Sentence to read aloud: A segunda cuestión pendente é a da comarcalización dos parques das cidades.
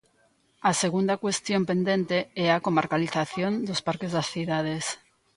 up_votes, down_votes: 0, 2